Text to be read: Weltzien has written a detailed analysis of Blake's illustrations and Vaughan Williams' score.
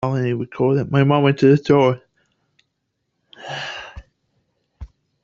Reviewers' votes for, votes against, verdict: 0, 2, rejected